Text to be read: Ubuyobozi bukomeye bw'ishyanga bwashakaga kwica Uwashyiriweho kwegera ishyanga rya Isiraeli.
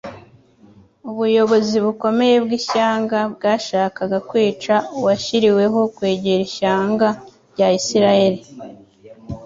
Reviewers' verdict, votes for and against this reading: accepted, 2, 0